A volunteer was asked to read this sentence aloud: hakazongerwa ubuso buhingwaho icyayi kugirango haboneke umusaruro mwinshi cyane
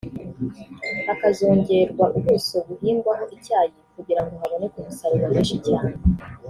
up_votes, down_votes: 1, 2